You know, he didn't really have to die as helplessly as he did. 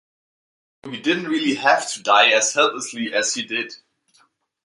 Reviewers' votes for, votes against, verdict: 1, 2, rejected